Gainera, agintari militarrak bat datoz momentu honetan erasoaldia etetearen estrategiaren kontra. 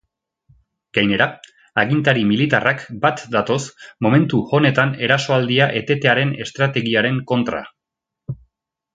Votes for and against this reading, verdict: 2, 0, accepted